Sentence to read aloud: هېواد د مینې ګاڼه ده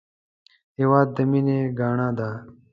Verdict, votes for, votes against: accepted, 2, 0